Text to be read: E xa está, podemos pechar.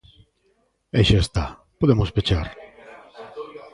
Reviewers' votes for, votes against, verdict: 1, 2, rejected